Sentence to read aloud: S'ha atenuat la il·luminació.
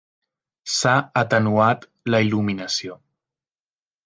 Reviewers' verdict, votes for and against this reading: accepted, 3, 0